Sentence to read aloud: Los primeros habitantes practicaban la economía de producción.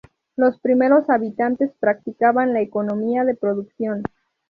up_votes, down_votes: 2, 0